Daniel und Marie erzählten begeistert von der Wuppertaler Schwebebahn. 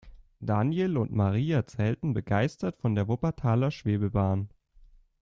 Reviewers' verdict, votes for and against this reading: accepted, 2, 0